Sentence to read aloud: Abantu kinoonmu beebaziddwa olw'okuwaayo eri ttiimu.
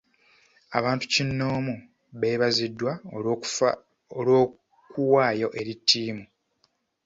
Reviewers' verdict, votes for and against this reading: rejected, 1, 2